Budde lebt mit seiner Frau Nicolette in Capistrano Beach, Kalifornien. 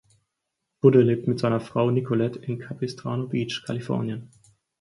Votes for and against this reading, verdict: 4, 0, accepted